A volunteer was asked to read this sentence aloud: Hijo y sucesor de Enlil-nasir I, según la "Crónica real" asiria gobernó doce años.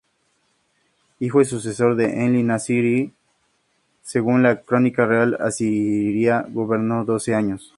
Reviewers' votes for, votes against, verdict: 2, 0, accepted